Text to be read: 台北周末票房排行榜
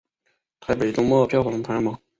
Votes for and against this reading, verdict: 3, 1, accepted